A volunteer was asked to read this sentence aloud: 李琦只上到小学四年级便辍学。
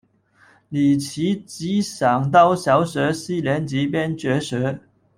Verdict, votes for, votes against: rejected, 1, 2